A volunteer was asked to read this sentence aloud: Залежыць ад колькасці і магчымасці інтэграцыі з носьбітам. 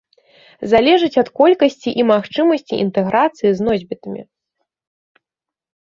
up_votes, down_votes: 1, 2